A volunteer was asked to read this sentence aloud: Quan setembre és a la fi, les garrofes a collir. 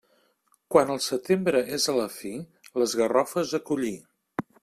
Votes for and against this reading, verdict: 1, 2, rejected